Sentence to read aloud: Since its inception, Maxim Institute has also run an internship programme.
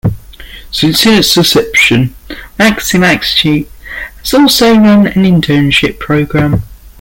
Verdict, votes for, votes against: rejected, 0, 2